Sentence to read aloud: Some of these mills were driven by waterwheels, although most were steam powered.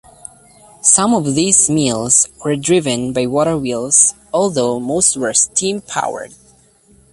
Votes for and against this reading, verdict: 2, 0, accepted